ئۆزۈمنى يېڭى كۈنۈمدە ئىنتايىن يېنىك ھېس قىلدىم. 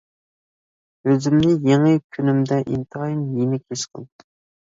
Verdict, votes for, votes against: rejected, 1, 2